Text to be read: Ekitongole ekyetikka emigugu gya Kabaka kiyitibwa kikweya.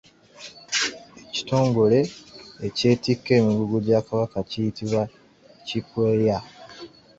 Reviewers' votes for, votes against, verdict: 2, 1, accepted